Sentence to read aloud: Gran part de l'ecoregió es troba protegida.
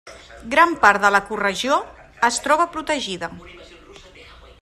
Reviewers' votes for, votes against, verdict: 1, 2, rejected